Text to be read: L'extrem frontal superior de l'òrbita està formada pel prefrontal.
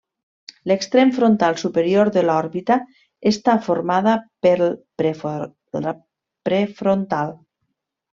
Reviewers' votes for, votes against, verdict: 0, 3, rejected